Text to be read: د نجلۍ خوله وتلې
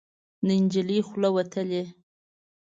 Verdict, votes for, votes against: accepted, 2, 0